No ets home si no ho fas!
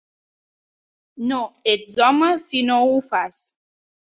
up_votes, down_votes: 3, 0